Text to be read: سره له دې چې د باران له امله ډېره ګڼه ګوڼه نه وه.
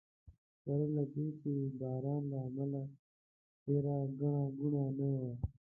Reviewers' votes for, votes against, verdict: 1, 2, rejected